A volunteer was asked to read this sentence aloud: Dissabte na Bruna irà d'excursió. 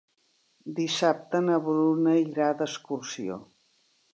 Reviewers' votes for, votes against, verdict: 0, 2, rejected